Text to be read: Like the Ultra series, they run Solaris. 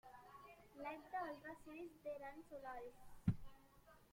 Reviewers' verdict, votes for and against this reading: rejected, 1, 2